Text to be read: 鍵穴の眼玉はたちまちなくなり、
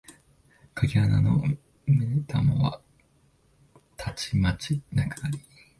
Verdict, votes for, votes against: rejected, 1, 2